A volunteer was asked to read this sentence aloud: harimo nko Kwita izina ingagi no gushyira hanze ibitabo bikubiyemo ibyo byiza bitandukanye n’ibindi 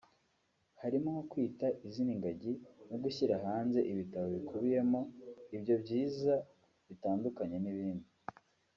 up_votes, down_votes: 1, 2